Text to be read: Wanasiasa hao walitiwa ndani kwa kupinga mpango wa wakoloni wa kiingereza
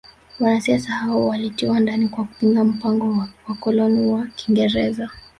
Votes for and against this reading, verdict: 1, 2, rejected